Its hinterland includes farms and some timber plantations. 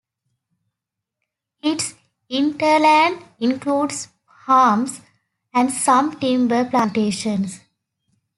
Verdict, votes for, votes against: rejected, 0, 2